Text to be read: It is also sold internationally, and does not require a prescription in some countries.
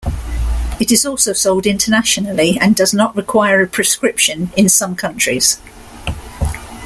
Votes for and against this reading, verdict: 2, 0, accepted